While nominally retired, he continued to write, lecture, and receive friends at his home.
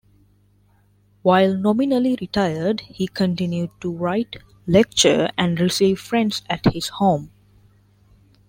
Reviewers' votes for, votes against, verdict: 1, 2, rejected